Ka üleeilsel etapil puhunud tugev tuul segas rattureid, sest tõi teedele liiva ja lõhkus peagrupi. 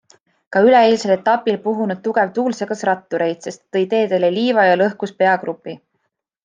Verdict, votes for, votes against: accepted, 2, 0